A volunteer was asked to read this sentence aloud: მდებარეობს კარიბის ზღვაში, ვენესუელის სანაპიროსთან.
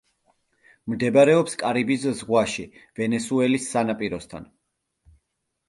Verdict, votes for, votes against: accepted, 2, 0